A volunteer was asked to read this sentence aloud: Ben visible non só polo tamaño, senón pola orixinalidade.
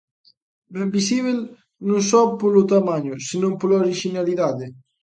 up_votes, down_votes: 0, 2